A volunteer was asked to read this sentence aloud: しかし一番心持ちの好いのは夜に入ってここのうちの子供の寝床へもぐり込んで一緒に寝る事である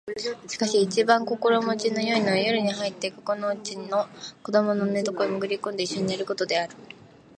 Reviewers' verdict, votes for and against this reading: rejected, 1, 2